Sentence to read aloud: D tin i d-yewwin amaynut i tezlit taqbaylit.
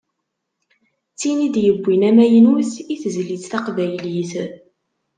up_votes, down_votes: 2, 0